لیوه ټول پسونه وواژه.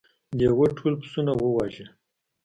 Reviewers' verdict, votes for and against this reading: accepted, 3, 0